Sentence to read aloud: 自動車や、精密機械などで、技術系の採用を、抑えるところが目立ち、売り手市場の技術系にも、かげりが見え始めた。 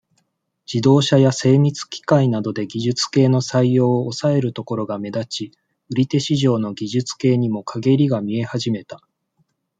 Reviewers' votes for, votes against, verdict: 2, 0, accepted